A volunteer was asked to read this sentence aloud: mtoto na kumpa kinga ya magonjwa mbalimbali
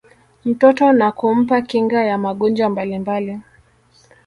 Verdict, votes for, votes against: rejected, 1, 2